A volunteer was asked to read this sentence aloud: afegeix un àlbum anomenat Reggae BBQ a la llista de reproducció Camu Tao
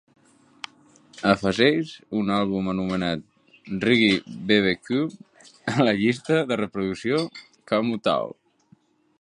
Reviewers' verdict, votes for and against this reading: accepted, 3, 2